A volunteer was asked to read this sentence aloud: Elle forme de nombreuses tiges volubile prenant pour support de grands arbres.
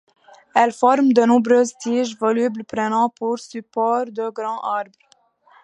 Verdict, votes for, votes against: rejected, 0, 2